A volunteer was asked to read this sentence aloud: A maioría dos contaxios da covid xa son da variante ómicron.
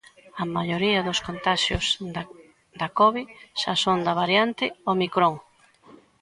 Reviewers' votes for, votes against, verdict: 0, 4, rejected